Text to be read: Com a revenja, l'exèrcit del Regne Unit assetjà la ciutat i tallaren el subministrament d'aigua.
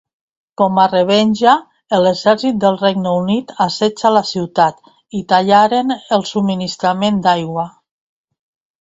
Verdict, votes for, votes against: rejected, 2, 3